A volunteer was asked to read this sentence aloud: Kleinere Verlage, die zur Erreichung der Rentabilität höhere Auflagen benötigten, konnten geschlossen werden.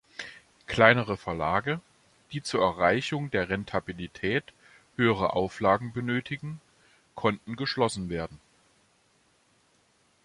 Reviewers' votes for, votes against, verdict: 1, 2, rejected